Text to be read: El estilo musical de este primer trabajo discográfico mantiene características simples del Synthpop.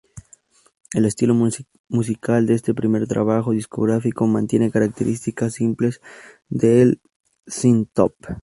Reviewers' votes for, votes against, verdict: 2, 0, accepted